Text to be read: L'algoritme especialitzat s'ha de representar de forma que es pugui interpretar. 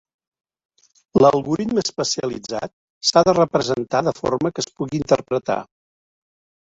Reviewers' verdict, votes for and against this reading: accepted, 3, 1